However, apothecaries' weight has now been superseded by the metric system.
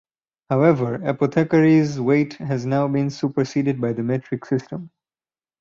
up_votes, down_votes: 4, 0